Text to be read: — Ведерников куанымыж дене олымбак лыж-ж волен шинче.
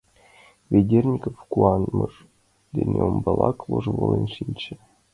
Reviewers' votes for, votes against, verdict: 0, 2, rejected